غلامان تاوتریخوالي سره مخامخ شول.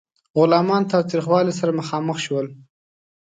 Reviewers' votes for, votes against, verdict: 2, 0, accepted